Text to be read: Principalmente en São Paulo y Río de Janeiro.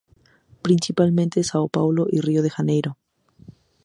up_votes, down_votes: 2, 0